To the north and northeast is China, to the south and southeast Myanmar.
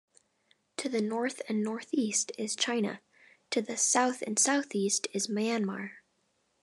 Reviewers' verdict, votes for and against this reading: rejected, 0, 2